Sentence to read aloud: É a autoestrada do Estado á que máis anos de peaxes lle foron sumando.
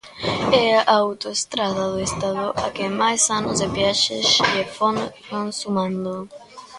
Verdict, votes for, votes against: rejected, 0, 2